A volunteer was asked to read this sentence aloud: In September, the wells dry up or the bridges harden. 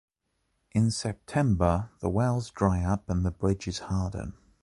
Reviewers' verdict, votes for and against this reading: rejected, 1, 3